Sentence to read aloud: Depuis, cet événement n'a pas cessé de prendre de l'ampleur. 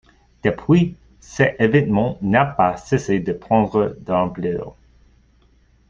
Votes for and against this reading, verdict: 2, 1, accepted